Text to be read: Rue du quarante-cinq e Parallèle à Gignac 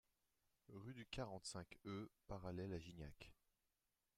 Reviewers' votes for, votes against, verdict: 2, 1, accepted